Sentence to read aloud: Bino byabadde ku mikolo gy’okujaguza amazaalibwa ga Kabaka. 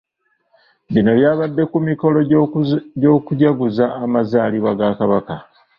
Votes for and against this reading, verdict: 0, 2, rejected